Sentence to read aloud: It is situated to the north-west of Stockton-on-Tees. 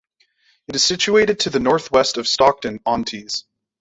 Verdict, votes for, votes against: accepted, 2, 0